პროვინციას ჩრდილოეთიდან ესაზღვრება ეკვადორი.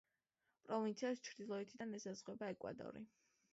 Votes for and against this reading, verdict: 2, 0, accepted